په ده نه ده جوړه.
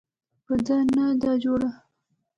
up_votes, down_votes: 1, 2